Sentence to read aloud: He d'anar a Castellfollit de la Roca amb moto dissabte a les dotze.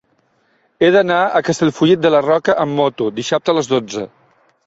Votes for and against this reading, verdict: 3, 0, accepted